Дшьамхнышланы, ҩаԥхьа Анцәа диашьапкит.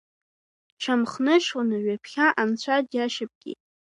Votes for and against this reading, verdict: 3, 0, accepted